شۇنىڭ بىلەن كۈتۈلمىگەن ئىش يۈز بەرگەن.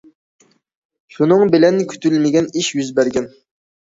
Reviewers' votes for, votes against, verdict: 2, 0, accepted